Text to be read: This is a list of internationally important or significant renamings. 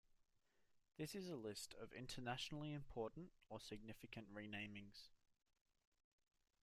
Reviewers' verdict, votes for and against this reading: rejected, 1, 2